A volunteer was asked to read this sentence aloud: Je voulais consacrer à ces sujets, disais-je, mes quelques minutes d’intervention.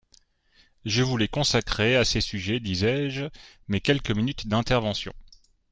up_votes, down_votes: 2, 1